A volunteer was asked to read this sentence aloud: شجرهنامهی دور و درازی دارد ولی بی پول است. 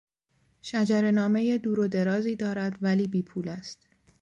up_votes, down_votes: 2, 0